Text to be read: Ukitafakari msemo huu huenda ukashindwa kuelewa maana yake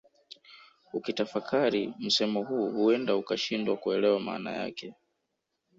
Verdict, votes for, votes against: accepted, 2, 0